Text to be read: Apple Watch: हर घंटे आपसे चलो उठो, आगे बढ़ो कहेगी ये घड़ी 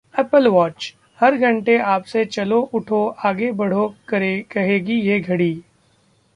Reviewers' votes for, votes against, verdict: 0, 2, rejected